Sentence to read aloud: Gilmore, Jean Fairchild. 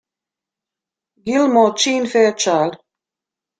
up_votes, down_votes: 1, 2